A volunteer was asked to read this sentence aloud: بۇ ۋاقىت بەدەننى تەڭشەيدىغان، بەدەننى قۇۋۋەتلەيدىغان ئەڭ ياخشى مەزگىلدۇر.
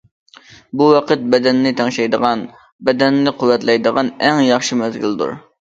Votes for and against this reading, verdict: 2, 0, accepted